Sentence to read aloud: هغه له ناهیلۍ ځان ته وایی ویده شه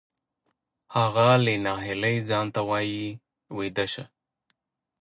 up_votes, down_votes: 2, 0